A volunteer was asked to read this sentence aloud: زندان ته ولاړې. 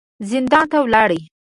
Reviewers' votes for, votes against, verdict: 2, 0, accepted